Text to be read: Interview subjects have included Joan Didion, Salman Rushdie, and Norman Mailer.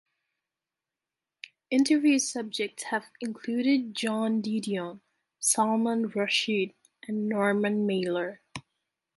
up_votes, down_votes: 1, 2